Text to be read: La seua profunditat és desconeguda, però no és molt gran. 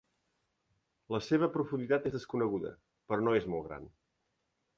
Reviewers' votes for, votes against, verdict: 3, 1, accepted